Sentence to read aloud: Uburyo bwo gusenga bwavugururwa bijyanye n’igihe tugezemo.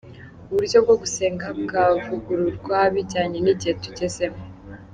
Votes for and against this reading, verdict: 2, 0, accepted